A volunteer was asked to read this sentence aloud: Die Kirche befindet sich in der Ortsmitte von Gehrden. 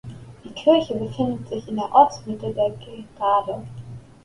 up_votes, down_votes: 0, 2